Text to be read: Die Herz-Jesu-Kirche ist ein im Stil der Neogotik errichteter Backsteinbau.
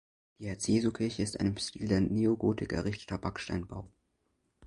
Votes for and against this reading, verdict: 0, 2, rejected